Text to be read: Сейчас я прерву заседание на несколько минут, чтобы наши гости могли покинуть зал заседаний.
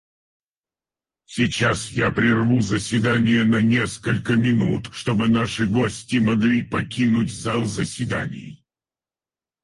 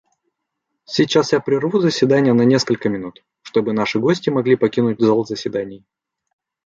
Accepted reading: second